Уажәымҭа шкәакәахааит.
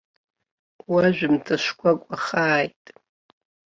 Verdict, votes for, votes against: rejected, 1, 2